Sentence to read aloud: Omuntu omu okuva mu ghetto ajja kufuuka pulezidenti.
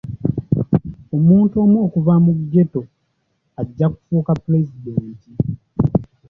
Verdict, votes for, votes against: accepted, 2, 0